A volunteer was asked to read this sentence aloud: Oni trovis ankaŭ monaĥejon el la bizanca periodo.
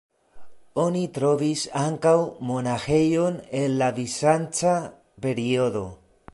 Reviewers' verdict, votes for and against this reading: rejected, 0, 2